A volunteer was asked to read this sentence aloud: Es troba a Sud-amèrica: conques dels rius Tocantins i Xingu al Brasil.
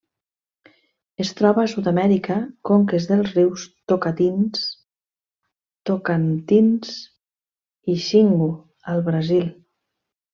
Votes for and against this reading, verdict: 0, 2, rejected